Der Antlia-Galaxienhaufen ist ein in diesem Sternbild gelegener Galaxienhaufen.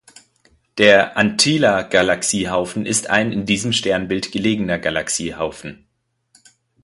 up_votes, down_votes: 1, 2